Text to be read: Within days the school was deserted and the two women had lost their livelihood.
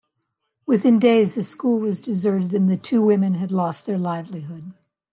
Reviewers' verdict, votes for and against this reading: accepted, 2, 0